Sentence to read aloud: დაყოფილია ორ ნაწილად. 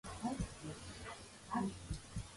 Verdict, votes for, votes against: rejected, 0, 2